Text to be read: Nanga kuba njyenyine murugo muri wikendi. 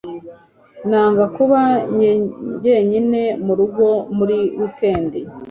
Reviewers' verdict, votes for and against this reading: accepted, 2, 0